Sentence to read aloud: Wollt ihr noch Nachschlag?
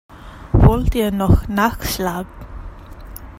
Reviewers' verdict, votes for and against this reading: rejected, 1, 2